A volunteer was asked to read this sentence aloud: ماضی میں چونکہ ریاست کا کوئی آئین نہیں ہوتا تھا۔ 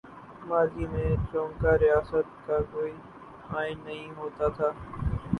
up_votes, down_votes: 0, 2